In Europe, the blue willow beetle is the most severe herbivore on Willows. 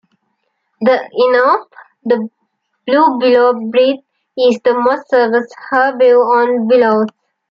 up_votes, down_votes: 0, 2